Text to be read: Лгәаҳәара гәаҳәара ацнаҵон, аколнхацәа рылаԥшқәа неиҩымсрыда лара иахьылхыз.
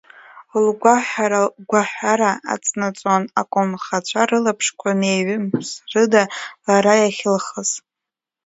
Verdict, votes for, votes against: rejected, 0, 2